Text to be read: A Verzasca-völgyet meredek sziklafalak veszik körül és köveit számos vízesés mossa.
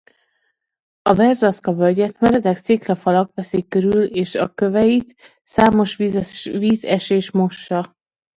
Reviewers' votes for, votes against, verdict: 0, 2, rejected